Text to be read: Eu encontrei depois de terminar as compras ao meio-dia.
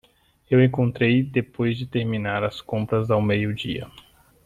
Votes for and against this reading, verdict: 2, 0, accepted